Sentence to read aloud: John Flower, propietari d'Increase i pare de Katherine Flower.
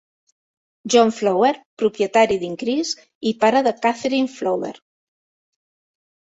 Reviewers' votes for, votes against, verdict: 2, 0, accepted